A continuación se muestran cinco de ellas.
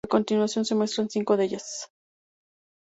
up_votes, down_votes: 2, 0